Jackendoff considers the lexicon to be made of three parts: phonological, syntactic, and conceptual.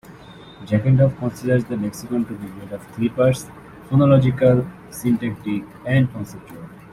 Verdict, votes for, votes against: accepted, 2, 0